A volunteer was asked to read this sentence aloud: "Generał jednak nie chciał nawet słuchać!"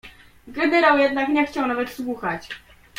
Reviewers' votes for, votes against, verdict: 2, 1, accepted